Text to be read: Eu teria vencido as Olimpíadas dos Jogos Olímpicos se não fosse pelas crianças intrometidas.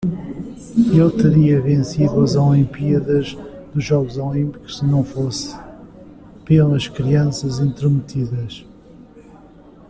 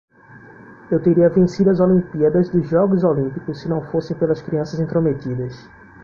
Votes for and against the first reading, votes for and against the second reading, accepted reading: 0, 2, 2, 0, second